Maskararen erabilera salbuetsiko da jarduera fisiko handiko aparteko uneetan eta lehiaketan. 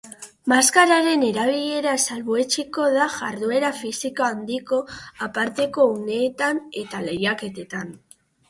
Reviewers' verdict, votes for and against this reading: rejected, 0, 2